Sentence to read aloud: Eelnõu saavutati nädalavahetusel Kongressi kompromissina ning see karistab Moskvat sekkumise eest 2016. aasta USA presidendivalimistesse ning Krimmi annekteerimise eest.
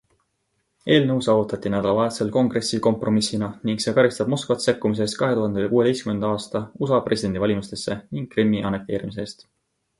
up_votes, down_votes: 0, 2